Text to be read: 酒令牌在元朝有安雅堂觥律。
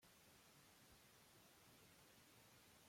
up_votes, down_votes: 0, 3